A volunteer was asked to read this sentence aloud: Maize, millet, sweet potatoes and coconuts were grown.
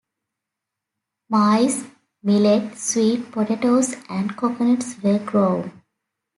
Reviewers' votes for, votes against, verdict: 0, 2, rejected